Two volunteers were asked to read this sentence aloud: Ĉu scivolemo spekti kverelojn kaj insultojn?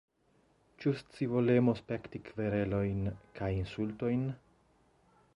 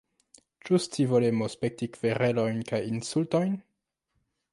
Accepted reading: first